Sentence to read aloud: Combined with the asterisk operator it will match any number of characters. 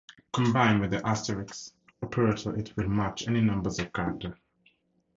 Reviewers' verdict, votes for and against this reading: rejected, 0, 2